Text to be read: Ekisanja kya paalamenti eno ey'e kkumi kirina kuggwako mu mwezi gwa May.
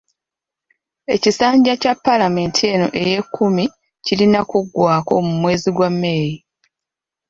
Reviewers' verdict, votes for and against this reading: accepted, 2, 0